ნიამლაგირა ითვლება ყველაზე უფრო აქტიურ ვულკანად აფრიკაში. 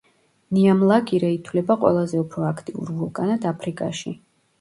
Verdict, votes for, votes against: rejected, 1, 2